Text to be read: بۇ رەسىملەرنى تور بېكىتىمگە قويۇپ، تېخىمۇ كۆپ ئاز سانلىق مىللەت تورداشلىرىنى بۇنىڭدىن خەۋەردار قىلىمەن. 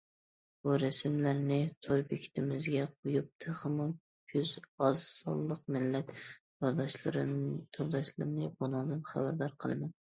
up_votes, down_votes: 0, 2